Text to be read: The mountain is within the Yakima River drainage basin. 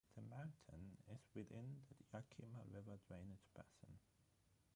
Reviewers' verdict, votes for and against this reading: rejected, 0, 3